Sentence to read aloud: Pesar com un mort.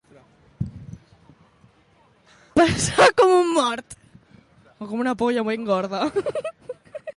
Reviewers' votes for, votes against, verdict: 0, 2, rejected